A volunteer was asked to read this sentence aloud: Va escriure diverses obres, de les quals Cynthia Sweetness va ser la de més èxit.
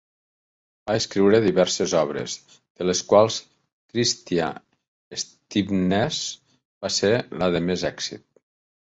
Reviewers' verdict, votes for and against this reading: rejected, 1, 2